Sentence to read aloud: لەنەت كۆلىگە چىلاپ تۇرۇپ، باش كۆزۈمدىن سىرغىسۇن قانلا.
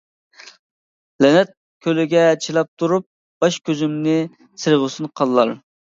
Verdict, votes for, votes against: accepted, 2, 0